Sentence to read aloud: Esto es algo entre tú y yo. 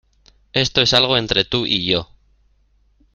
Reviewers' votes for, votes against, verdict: 2, 0, accepted